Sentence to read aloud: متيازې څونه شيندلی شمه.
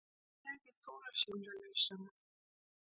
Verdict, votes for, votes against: rejected, 1, 2